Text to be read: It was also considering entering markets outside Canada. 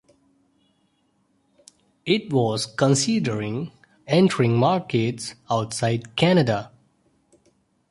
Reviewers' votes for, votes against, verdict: 1, 2, rejected